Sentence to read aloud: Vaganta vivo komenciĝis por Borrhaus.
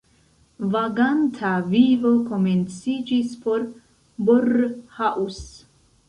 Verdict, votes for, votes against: rejected, 1, 2